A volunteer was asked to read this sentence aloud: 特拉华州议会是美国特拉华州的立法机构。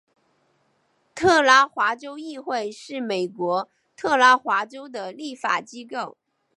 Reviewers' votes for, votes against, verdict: 2, 0, accepted